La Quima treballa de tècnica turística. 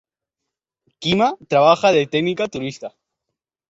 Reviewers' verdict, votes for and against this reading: rejected, 1, 2